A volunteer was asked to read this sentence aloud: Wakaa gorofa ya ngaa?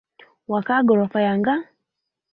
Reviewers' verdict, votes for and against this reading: rejected, 1, 2